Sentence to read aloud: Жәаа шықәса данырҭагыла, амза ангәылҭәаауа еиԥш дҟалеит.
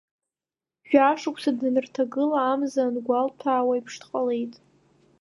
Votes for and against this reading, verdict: 0, 2, rejected